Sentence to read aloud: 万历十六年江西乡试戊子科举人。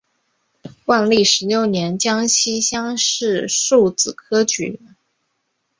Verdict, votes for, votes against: rejected, 2, 3